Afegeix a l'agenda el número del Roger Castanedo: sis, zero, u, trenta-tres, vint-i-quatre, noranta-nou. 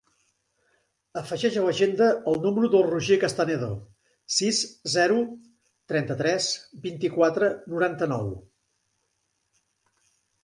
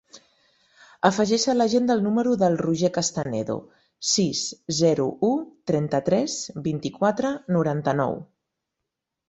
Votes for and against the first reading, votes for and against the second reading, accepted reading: 1, 2, 4, 0, second